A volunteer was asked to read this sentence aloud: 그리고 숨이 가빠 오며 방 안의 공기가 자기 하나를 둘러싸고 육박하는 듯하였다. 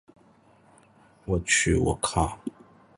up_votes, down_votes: 0, 2